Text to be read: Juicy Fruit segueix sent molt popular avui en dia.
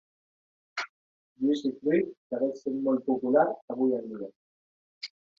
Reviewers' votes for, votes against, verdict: 1, 2, rejected